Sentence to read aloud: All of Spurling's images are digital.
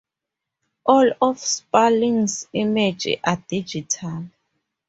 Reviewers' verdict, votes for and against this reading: rejected, 0, 4